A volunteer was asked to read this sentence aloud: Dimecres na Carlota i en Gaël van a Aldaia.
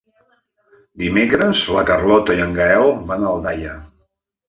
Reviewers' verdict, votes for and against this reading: rejected, 0, 2